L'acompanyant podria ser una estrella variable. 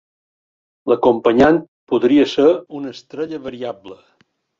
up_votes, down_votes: 1, 2